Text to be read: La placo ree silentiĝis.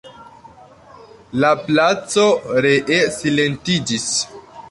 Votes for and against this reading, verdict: 1, 2, rejected